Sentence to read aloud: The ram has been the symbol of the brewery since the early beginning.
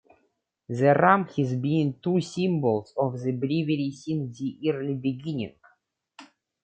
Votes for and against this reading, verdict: 1, 2, rejected